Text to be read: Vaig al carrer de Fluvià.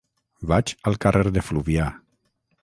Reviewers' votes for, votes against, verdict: 6, 0, accepted